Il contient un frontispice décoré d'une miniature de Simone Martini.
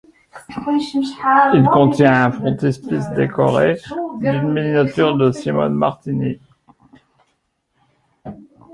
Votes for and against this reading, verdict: 0, 2, rejected